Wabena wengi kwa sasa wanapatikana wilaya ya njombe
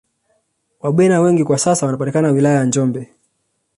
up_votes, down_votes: 0, 2